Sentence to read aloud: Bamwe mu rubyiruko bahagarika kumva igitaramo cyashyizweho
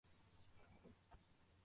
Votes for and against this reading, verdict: 0, 2, rejected